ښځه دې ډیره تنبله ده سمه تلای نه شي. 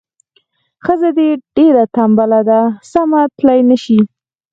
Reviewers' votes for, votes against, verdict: 4, 0, accepted